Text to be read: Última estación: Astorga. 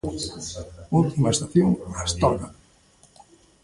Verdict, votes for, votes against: accepted, 2, 1